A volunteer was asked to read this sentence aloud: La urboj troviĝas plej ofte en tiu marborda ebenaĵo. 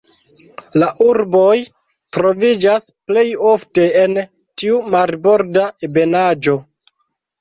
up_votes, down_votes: 1, 2